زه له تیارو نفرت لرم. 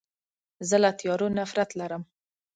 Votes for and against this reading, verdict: 2, 0, accepted